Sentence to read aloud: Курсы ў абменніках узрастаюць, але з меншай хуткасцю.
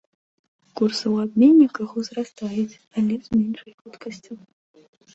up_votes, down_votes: 0, 2